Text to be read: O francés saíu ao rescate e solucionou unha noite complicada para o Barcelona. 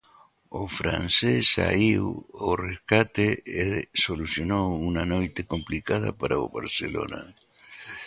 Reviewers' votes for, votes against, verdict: 2, 1, accepted